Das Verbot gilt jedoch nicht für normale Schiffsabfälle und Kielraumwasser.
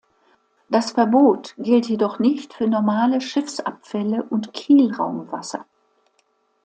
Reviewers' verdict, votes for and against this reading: accepted, 2, 1